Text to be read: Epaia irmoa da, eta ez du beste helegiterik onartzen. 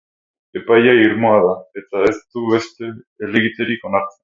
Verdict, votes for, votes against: rejected, 0, 2